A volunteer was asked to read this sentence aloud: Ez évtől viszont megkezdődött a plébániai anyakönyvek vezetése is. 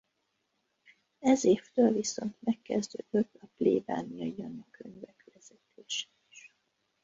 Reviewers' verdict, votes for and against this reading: rejected, 1, 2